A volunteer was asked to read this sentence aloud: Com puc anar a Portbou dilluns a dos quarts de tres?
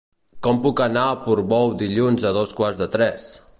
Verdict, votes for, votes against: accepted, 3, 0